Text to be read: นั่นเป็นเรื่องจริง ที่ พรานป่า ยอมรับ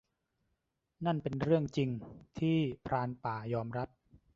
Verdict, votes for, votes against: accepted, 2, 1